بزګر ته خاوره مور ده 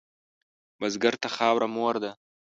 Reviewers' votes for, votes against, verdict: 2, 0, accepted